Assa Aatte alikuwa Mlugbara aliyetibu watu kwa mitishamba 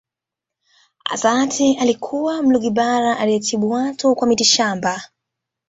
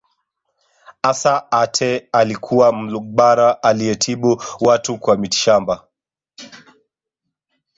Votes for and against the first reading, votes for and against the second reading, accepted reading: 2, 0, 0, 2, first